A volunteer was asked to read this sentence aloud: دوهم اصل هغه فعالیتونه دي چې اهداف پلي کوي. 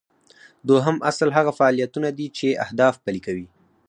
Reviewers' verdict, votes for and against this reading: rejected, 2, 4